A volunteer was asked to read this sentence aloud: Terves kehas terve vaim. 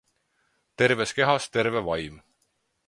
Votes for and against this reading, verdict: 4, 0, accepted